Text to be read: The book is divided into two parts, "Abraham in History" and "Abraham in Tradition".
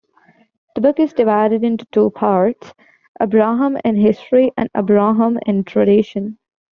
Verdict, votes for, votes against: accepted, 2, 0